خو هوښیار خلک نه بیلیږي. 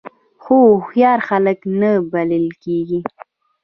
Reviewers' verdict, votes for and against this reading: rejected, 2, 5